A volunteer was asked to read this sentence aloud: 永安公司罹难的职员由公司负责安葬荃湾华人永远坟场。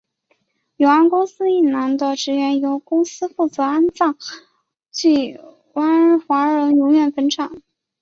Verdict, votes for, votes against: rejected, 0, 2